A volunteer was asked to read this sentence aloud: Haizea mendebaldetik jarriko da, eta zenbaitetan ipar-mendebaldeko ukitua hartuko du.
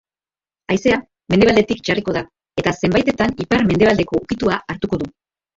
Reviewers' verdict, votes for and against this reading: rejected, 0, 2